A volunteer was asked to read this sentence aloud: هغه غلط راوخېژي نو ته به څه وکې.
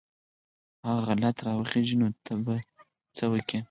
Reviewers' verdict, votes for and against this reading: rejected, 0, 4